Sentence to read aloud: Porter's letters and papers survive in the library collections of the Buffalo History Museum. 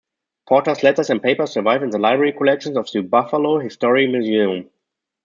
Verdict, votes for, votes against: rejected, 1, 2